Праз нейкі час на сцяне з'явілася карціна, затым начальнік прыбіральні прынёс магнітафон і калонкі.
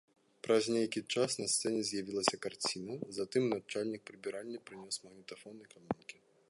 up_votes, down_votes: 1, 2